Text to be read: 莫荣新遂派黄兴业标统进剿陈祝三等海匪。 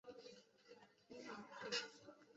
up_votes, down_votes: 0, 2